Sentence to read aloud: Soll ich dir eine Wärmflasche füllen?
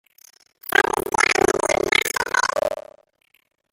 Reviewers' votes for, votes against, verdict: 0, 2, rejected